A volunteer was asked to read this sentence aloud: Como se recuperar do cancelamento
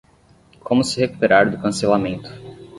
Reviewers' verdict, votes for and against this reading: rejected, 5, 5